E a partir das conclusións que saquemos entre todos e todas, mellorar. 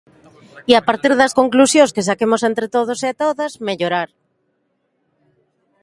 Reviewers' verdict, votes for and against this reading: accepted, 2, 0